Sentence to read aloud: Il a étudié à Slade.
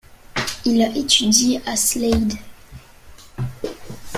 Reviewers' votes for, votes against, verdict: 2, 0, accepted